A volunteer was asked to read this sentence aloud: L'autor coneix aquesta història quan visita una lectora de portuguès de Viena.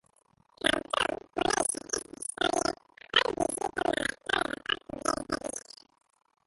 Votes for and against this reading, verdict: 0, 2, rejected